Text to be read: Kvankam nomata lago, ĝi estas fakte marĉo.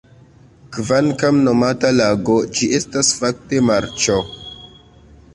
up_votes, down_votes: 2, 1